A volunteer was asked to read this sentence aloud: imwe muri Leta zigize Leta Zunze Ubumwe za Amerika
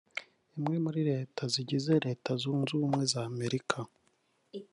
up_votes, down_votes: 0, 2